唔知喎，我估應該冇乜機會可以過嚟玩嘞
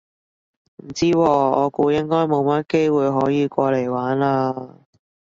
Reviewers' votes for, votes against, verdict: 2, 0, accepted